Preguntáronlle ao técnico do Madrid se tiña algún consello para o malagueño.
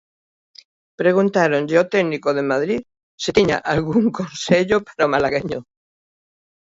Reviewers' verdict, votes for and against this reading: rejected, 0, 2